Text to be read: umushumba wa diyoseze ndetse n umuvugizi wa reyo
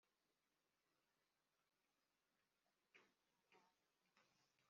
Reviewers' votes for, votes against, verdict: 0, 2, rejected